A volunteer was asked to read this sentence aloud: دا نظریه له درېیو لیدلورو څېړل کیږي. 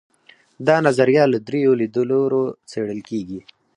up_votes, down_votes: 2, 4